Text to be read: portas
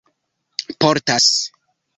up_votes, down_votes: 2, 0